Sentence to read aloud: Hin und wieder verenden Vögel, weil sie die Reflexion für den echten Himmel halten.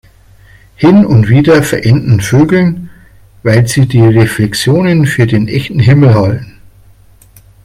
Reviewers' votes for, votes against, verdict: 2, 3, rejected